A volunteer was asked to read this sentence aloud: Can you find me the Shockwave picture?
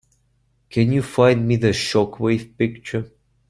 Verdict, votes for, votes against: accepted, 2, 0